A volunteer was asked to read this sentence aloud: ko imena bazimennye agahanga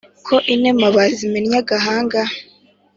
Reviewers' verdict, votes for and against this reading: accepted, 2, 0